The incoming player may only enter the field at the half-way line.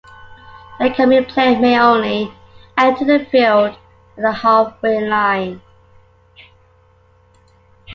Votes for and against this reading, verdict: 2, 0, accepted